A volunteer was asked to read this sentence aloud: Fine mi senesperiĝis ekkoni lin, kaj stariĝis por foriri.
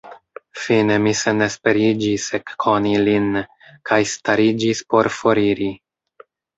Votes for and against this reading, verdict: 2, 0, accepted